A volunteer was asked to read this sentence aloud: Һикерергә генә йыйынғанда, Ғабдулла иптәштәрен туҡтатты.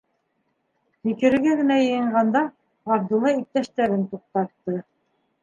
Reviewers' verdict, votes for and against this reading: accepted, 2, 1